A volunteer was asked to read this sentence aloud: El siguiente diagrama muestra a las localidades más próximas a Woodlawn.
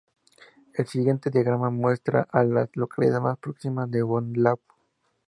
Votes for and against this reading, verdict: 2, 2, rejected